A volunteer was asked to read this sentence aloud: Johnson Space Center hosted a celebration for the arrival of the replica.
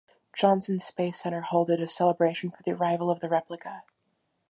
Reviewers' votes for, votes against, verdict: 2, 1, accepted